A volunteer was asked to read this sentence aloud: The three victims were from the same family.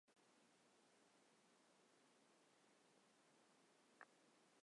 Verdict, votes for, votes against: rejected, 0, 2